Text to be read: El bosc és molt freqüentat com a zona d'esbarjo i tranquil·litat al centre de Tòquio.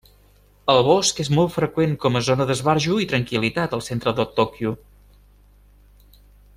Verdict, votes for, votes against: rejected, 0, 2